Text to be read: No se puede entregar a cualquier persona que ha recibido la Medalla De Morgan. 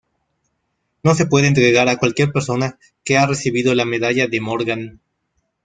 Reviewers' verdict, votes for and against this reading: rejected, 0, 2